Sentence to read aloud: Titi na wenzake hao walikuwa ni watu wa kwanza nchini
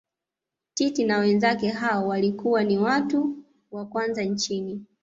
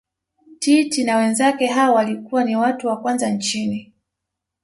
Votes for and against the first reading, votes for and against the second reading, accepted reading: 2, 0, 0, 2, first